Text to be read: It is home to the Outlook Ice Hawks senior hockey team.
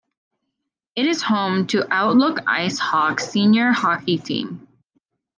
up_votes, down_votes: 2, 0